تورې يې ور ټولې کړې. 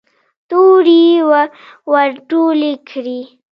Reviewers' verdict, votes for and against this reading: rejected, 0, 2